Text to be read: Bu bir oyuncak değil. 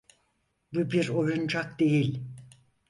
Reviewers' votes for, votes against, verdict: 4, 0, accepted